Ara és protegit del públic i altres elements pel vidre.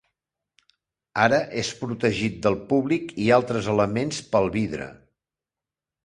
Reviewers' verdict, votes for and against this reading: accepted, 2, 0